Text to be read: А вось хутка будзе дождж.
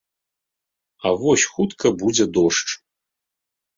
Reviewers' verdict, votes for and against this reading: accepted, 2, 0